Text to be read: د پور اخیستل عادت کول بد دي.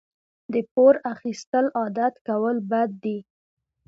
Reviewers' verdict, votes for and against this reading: rejected, 2, 3